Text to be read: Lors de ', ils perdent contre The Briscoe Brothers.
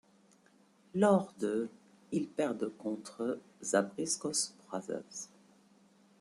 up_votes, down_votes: 2, 1